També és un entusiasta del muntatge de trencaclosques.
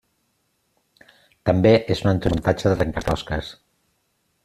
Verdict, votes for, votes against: rejected, 0, 2